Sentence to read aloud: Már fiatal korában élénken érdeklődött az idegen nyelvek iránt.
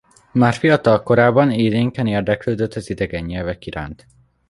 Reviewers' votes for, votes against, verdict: 2, 0, accepted